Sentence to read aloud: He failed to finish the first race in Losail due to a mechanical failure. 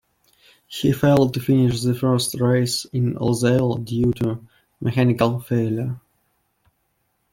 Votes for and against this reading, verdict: 2, 0, accepted